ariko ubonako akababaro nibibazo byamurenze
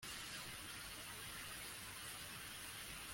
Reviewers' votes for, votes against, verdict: 0, 2, rejected